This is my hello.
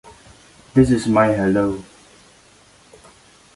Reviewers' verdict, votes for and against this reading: accepted, 2, 0